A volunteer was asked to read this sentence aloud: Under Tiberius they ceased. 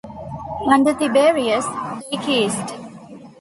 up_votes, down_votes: 1, 2